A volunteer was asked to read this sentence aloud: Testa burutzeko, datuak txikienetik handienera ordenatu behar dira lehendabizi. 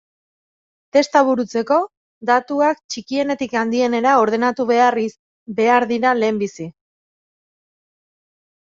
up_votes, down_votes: 0, 2